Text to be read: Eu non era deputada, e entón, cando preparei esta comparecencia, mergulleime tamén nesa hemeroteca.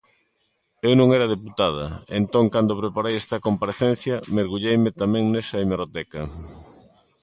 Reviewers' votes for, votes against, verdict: 2, 0, accepted